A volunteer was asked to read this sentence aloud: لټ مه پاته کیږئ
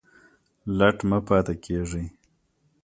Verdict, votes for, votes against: accepted, 2, 1